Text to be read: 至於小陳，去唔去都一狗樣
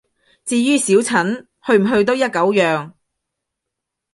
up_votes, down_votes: 2, 0